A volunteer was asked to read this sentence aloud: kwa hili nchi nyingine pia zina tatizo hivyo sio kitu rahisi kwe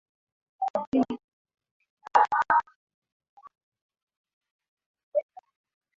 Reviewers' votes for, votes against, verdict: 0, 2, rejected